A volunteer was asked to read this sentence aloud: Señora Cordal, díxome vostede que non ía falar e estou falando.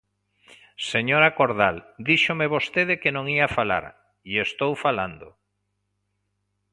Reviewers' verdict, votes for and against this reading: accepted, 2, 0